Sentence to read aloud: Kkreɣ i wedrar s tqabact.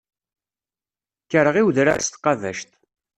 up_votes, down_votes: 0, 2